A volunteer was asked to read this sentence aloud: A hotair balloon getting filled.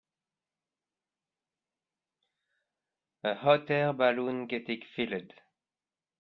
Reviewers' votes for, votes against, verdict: 2, 1, accepted